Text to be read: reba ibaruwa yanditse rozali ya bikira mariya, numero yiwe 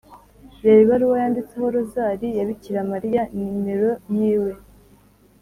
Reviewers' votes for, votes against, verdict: 1, 2, rejected